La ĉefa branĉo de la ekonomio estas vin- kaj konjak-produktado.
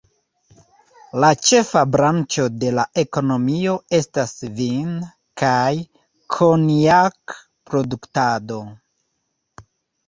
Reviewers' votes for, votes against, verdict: 1, 2, rejected